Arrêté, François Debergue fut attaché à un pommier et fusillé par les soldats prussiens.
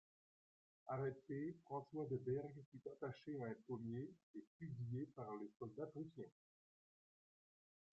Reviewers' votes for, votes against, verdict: 1, 2, rejected